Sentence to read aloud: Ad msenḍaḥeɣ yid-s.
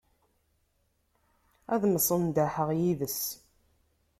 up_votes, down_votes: 0, 2